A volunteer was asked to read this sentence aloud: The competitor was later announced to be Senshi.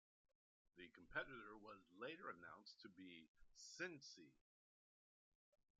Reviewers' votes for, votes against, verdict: 0, 2, rejected